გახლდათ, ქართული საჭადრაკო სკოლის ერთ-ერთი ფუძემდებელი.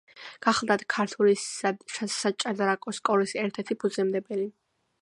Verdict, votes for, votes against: accepted, 2, 1